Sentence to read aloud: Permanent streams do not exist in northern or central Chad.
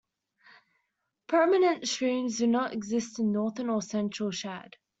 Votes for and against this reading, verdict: 2, 0, accepted